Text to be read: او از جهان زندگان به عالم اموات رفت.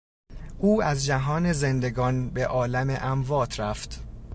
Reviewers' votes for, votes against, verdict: 2, 0, accepted